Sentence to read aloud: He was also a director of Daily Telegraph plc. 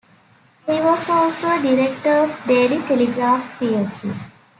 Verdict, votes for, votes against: accepted, 2, 1